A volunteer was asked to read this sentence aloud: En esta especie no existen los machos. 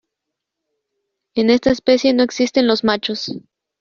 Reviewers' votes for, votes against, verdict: 1, 2, rejected